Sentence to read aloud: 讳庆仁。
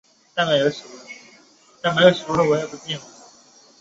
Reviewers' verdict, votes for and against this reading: rejected, 0, 3